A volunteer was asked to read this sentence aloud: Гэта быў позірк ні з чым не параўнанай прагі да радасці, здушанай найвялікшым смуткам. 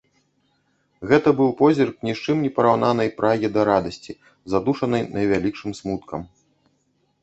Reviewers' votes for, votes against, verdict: 0, 2, rejected